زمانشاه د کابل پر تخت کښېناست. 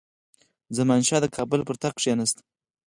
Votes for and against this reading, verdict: 0, 4, rejected